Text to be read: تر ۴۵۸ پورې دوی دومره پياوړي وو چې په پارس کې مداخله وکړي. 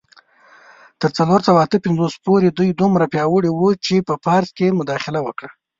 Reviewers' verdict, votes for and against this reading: rejected, 0, 2